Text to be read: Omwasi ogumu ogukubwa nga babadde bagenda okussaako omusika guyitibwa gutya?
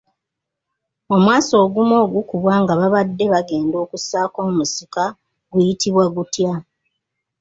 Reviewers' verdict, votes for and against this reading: accepted, 2, 0